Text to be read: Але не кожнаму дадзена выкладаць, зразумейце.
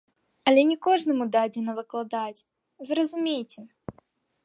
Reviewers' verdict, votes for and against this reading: accepted, 2, 0